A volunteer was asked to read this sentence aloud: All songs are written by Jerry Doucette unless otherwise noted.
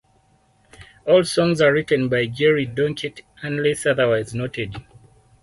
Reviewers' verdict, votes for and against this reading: rejected, 2, 4